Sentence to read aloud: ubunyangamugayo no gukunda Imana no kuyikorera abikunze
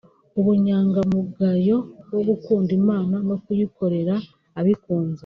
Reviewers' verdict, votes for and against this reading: rejected, 0, 2